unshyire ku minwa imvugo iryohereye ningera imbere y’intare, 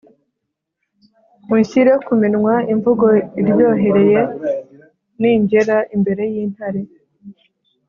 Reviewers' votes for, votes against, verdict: 4, 0, accepted